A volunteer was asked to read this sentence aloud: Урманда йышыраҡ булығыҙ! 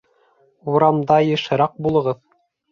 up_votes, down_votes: 1, 2